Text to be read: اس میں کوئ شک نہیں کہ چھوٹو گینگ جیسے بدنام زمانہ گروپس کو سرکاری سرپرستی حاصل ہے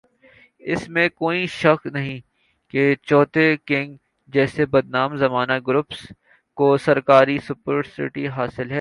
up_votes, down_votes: 0, 2